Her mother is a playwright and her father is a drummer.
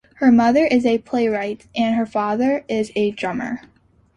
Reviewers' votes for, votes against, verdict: 2, 0, accepted